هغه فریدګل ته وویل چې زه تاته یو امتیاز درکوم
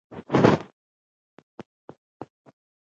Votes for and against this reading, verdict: 0, 2, rejected